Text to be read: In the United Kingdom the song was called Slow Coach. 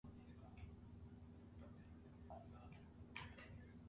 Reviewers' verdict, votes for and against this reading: rejected, 0, 2